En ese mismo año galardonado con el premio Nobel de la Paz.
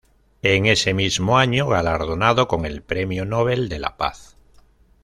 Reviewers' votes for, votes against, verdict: 2, 0, accepted